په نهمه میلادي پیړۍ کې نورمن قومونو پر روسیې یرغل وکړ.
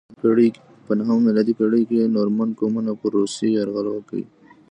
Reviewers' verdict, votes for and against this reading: rejected, 0, 2